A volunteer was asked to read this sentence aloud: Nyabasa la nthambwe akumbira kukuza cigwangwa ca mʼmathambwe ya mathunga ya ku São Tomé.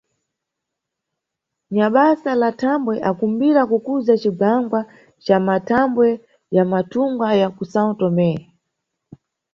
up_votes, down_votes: 2, 0